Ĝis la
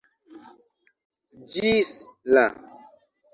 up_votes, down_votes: 2, 0